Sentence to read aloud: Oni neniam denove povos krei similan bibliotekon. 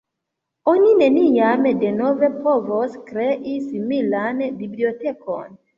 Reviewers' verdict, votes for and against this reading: accepted, 2, 0